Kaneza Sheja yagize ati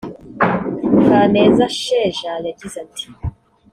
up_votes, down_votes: 2, 0